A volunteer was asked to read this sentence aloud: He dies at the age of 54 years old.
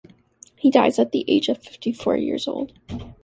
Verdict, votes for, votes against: rejected, 0, 2